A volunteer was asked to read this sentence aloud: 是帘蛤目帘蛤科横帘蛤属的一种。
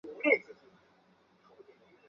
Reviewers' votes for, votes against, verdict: 0, 3, rejected